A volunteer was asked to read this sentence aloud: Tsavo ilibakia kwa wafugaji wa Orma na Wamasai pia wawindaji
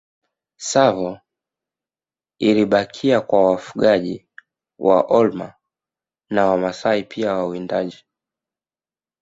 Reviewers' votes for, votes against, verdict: 0, 2, rejected